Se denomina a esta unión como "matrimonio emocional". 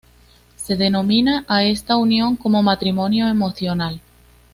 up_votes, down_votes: 2, 1